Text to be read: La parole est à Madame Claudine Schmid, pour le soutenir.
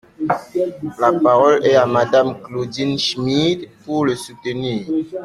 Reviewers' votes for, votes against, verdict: 2, 0, accepted